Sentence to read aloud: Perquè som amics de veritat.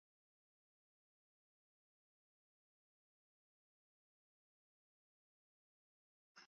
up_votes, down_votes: 0, 2